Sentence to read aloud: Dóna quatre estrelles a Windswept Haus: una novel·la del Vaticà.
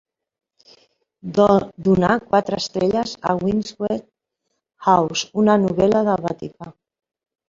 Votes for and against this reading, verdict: 0, 2, rejected